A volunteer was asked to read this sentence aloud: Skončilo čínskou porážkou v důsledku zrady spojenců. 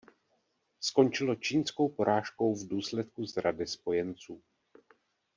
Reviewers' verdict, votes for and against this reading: accepted, 2, 0